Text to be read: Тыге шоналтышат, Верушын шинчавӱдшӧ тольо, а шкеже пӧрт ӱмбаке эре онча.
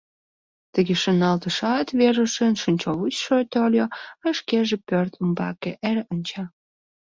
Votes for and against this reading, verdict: 0, 2, rejected